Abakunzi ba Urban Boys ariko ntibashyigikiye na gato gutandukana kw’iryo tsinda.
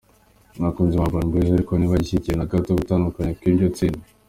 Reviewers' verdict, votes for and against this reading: rejected, 0, 2